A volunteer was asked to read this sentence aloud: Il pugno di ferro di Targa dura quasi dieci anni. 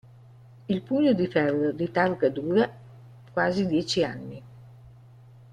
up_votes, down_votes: 1, 2